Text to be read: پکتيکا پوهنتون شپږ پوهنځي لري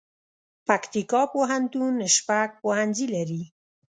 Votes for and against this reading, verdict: 2, 0, accepted